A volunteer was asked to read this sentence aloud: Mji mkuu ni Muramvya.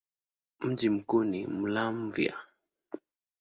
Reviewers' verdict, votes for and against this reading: rejected, 1, 2